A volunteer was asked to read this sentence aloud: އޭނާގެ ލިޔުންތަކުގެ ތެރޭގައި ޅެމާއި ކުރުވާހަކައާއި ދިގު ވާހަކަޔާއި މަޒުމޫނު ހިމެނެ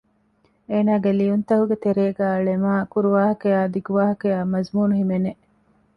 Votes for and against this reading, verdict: 2, 0, accepted